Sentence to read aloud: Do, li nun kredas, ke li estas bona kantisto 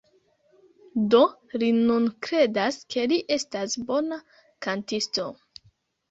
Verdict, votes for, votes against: accepted, 2, 0